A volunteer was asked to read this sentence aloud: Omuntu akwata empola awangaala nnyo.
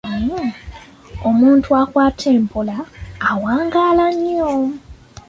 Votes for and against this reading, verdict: 2, 0, accepted